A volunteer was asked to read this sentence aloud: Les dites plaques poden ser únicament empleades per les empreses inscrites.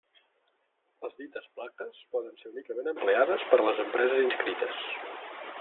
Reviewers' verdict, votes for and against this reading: accepted, 2, 1